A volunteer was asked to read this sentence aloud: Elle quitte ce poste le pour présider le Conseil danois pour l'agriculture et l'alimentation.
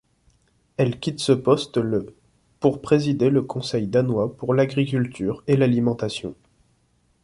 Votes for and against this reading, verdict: 2, 0, accepted